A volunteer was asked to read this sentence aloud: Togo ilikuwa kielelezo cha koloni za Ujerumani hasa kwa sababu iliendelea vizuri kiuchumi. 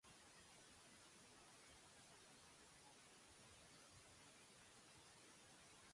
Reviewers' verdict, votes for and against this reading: rejected, 0, 2